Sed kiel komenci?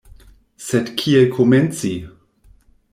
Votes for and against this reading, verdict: 2, 0, accepted